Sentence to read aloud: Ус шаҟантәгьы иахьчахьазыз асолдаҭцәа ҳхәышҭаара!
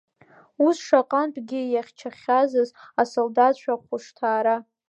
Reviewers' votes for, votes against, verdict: 2, 1, accepted